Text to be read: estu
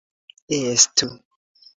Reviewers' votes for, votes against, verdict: 2, 1, accepted